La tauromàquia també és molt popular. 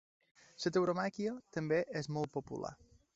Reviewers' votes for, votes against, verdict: 1, 2, rejected